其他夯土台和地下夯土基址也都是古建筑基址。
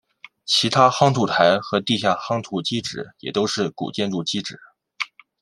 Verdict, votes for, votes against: accepted, 2, 0